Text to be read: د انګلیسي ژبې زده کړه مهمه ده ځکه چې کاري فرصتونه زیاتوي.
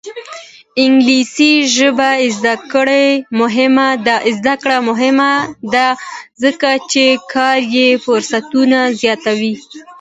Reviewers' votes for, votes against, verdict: 2, 1, accepted